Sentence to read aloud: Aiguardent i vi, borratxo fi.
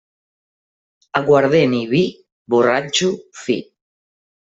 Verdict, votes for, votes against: accepted, 2, 1